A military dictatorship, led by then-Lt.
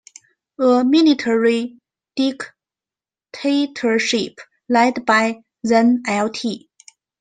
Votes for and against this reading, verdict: 1, 2, rejected